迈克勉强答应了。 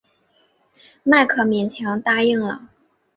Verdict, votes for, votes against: accepted, 3, 0